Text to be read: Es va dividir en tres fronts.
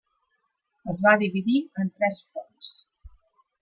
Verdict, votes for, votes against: rejected, 0, 2